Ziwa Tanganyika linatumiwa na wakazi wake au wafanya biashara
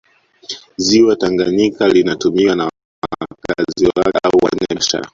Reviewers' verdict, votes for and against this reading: rejected, 0, 2